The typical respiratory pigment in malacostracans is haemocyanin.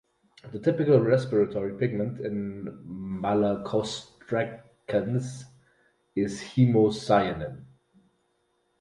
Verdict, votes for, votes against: rejected, 2, 2